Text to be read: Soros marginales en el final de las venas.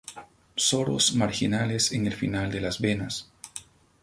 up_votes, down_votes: 4, 0